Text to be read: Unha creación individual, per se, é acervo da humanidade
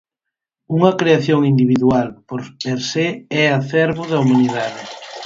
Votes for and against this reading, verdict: 0, 4, rejected